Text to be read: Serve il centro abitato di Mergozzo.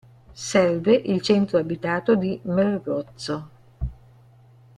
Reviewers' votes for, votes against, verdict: 0, 2, rejected